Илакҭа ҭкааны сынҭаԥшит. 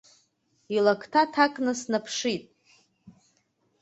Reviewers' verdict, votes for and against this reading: accepted, 2, 0